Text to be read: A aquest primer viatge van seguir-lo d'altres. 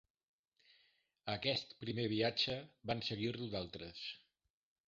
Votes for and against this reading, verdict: 0, 2, rejected